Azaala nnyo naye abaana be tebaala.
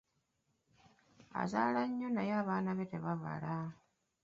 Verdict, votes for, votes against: rejected, 1, 2